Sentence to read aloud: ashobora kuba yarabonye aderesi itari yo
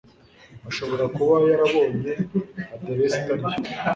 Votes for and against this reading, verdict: 1, 2, rejected